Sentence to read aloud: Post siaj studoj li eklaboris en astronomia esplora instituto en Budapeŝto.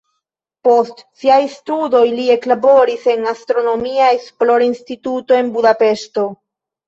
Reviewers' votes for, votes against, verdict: 1, 2, rejected